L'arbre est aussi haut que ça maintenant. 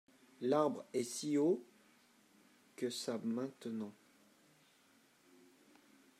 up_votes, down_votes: 0, 2